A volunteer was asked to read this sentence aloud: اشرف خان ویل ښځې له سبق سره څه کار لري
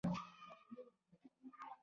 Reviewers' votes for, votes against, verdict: 2, 0, accepted